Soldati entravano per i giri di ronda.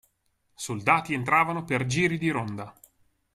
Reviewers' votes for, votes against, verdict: 0, 2, rejected